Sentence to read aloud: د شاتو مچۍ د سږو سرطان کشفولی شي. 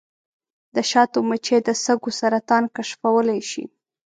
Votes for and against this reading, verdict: 9, 0, accepted